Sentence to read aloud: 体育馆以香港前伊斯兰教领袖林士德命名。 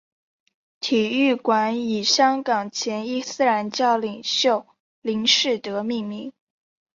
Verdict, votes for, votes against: accepted, 4, 0